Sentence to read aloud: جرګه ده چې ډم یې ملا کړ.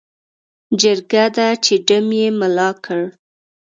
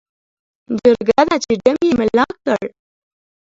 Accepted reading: first